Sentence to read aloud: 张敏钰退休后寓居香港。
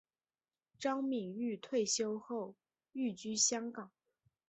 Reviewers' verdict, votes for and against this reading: accepted, 6, 1